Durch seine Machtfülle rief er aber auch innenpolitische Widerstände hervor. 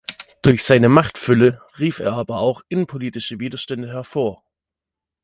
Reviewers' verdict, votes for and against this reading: accepted, 2, 0